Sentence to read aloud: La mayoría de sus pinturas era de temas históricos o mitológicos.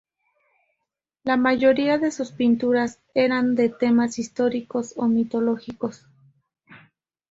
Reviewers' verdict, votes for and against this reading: rejected, 0, 2